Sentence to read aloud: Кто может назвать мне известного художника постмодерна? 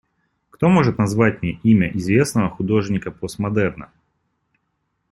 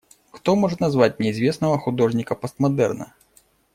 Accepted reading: second